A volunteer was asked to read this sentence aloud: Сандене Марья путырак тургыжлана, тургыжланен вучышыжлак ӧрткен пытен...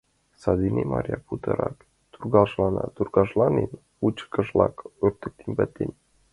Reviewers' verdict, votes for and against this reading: rejected, 0, 2